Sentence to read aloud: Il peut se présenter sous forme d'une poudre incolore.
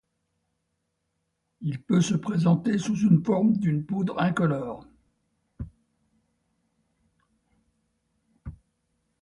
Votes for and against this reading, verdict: 2, 1, accepted